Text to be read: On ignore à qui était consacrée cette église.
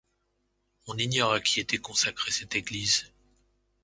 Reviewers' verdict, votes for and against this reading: accepted, 2, 0